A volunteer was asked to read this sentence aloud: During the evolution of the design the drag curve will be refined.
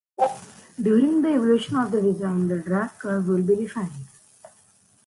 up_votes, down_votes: 2, 0